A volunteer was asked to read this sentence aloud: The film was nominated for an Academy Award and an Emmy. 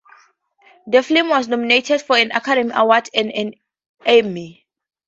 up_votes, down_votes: 0, 2